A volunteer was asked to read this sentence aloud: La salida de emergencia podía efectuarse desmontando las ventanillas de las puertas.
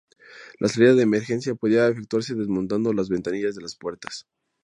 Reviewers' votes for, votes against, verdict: 2, 0, accepted